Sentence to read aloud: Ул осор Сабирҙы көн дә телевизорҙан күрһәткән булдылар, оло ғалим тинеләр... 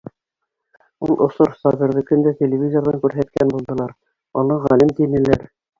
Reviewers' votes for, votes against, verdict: 1, 2, rejected